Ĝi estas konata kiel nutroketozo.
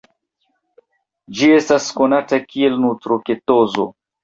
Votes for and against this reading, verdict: 2, 0, accepted